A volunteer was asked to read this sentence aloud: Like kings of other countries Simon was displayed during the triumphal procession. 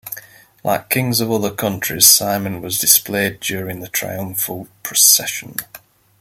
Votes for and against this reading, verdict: 2, 0, accepted